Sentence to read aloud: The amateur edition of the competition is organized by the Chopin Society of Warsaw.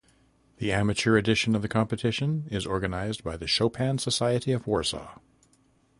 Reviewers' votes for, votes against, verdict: 2, 0, accepted